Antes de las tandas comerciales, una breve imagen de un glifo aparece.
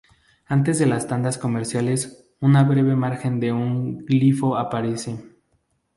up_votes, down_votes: 4, 0